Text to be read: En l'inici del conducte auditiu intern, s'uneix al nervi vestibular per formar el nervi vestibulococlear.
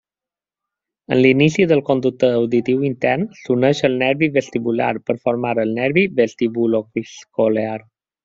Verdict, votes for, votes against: rejected, 0, 2